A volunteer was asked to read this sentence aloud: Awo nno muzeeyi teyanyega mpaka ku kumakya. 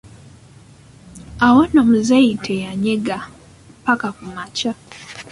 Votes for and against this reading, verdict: 2, 1, accepted